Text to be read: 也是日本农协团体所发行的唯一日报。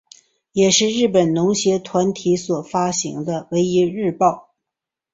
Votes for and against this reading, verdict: 2, 1, accepted